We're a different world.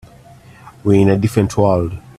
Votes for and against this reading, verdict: 0, 2, rejected